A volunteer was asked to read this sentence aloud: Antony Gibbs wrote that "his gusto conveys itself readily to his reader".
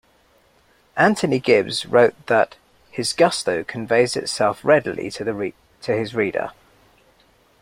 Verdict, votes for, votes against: rejected, 1, 2